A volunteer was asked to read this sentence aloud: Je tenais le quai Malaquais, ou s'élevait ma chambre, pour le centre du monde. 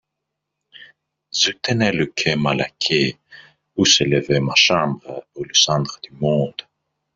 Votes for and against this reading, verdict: 0, 2, rejected